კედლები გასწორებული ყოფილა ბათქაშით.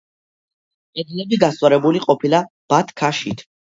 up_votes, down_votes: 2, 0